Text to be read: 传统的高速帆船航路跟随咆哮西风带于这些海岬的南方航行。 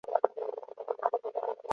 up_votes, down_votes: 1, 7